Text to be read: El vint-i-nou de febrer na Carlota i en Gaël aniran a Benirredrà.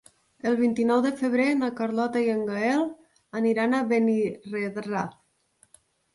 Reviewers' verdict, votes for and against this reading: rejected, 1, 2